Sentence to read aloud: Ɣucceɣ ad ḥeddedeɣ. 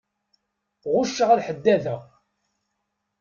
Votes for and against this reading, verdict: 1, 2, rejected